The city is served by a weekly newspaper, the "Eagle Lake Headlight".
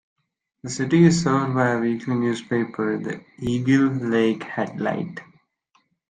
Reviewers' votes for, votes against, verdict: 3, 0, accepted